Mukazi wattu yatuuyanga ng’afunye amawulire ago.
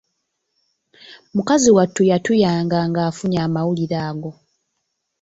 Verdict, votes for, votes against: rejected, 1, 2